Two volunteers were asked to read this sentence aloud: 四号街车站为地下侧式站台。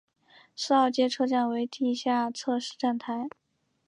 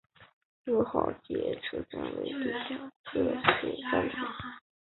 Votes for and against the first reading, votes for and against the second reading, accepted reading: 5, 2, 1, 2, first